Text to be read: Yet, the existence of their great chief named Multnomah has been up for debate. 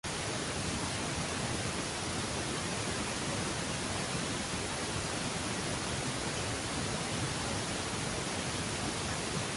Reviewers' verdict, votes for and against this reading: rejected, 0, 2